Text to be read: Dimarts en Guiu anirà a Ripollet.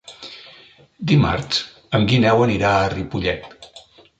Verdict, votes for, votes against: rejected, 0, 2